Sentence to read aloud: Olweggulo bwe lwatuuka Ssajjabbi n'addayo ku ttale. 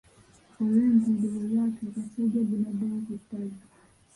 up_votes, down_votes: 1, 2